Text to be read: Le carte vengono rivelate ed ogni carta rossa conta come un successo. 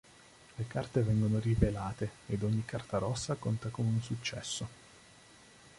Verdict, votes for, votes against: accepted, 2, 0